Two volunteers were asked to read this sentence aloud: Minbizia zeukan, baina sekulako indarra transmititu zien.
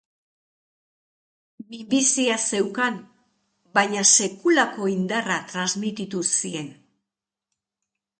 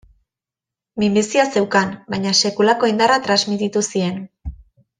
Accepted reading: second